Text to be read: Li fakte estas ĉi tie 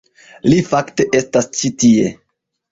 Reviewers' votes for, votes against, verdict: 0, 2, rejected